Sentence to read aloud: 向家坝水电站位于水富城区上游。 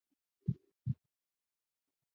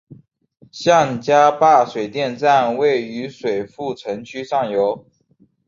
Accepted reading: second